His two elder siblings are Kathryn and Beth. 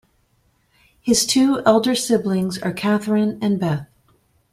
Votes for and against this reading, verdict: 2, 0, accepted